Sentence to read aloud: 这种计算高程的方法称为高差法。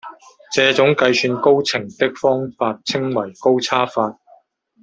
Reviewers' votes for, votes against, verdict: 0, 2, rejected